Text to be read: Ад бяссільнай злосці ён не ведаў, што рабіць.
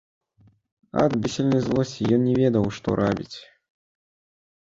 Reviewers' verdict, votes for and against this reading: rejected, 0, 3